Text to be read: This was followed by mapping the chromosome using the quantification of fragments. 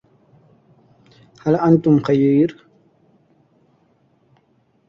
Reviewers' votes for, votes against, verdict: 0, 2, rejected